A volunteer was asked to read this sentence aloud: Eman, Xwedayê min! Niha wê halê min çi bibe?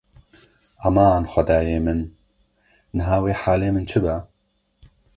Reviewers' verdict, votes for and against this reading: rejected, 1, 2